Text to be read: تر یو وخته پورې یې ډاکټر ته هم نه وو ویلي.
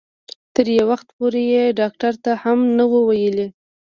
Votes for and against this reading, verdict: 1, 2, rejected